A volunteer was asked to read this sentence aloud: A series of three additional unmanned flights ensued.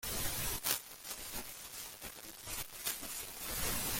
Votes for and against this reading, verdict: 0, 2, rejected